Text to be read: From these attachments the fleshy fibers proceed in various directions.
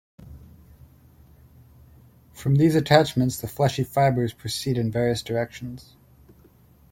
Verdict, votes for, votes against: accepted, 2, 0